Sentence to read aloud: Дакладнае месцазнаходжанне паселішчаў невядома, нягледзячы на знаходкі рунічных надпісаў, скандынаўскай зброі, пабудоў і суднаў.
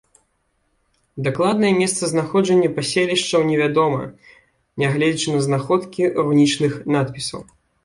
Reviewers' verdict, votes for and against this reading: rejected, 1, 2